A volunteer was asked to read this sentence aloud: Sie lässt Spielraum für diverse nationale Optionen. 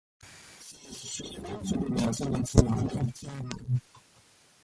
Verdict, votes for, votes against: rejected, 0, 2